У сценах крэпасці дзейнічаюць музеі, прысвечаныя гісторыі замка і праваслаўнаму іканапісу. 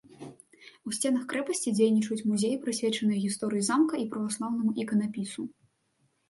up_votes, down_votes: 2, 0